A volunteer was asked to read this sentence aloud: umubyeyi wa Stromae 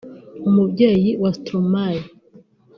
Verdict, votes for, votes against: accepted, 2, 0